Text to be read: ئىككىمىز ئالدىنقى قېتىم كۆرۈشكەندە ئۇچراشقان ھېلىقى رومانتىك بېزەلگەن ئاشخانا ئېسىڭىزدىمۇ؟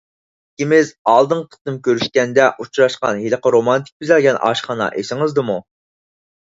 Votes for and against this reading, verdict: 6, 0, accepted